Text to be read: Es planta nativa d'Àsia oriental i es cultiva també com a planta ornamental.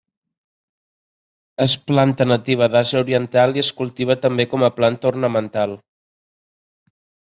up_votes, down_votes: 2, 0